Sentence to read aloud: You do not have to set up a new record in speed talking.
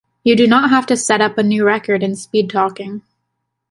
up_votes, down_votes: 2, 0